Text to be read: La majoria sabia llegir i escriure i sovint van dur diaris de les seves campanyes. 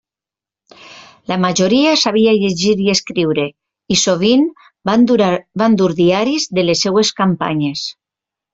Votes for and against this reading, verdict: 1, 2, rejected